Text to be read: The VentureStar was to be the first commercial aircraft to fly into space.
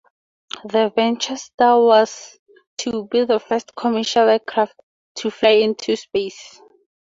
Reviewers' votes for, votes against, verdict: 4, 0, accepted